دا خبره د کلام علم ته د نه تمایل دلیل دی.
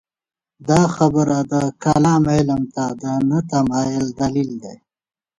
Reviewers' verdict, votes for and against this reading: accepted, 2, 0